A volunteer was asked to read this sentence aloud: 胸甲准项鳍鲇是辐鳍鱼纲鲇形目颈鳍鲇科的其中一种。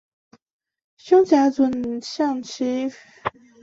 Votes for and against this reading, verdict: 2, 0, accepted